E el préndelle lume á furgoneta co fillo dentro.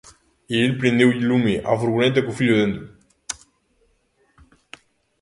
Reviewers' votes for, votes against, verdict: 0, 2, rejected